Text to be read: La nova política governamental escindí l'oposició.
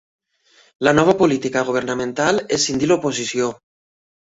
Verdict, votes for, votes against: accepted, 3, 0